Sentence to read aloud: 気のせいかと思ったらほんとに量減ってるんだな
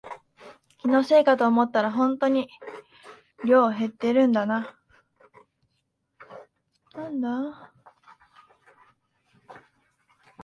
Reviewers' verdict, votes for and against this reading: rejected, 0, 2